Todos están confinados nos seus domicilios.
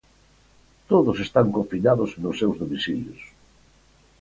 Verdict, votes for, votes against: accepted, 4, 0